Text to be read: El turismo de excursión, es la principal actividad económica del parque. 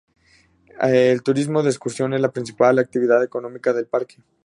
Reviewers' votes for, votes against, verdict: 2, 0, accepted